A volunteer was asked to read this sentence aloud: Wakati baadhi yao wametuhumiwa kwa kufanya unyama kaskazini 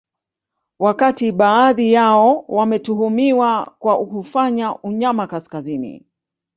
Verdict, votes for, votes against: accepted, 2, 0